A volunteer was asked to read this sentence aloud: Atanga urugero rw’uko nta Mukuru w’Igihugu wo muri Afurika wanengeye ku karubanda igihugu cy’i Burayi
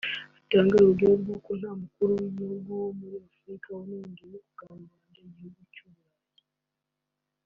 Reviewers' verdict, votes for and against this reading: rejected, 1, 3